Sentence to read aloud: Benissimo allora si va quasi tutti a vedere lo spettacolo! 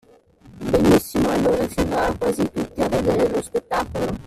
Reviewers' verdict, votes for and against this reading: rejected, 0, 2